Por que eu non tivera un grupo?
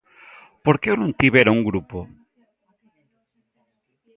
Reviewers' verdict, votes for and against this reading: accepted, 2, 0